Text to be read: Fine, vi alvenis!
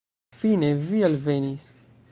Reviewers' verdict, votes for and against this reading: rejected, 0, 2